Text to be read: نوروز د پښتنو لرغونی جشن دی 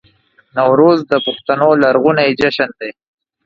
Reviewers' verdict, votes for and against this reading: accepted, 2, 0